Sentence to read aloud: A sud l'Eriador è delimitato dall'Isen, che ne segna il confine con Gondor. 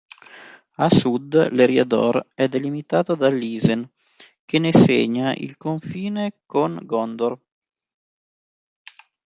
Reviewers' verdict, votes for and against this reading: accepted, 2, 0